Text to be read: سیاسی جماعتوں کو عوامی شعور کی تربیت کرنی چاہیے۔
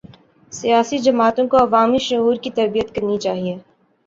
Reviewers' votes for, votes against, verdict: 2, 0, accepted